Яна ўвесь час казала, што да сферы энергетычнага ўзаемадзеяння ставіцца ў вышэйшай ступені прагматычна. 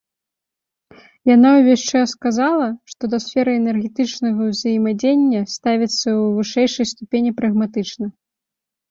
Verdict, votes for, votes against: accepted, 3, 0